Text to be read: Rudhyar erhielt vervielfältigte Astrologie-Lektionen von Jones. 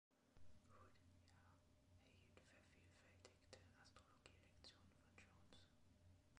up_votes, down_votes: 0, 2